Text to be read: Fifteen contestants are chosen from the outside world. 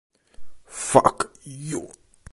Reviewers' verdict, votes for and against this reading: rejected, 0, 2